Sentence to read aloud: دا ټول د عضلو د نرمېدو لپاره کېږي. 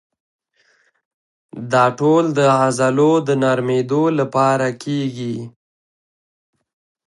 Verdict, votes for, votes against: accepted, 2, 0